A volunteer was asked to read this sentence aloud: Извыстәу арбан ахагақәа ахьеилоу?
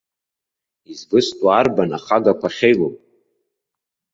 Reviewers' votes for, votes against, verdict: 2, 0, accepted